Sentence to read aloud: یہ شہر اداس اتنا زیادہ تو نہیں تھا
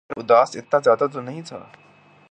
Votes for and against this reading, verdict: 3, 3, rejected